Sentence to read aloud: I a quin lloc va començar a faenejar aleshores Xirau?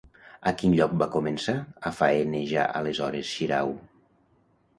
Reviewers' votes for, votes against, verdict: 1, 2, rejected